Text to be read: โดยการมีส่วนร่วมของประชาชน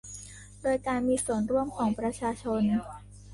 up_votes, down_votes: 2, 1